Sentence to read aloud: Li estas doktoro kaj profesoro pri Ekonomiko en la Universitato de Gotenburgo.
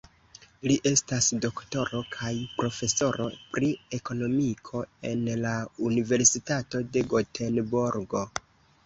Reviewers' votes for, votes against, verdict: 1, 2, rejected